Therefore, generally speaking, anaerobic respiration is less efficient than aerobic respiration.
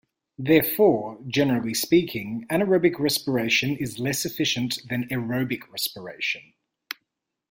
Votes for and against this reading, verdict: 2, 0, accepted